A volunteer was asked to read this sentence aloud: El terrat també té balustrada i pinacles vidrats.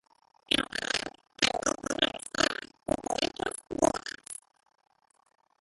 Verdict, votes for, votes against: rejected, 0, 2